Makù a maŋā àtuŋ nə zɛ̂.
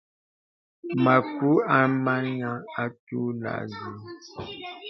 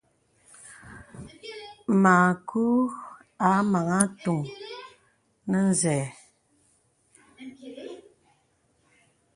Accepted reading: second